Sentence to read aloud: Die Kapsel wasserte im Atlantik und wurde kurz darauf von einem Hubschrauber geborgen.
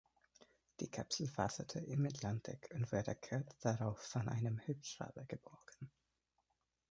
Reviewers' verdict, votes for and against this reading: rejected, 0, 2